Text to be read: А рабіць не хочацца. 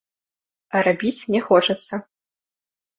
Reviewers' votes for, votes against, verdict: 2, 0, accepted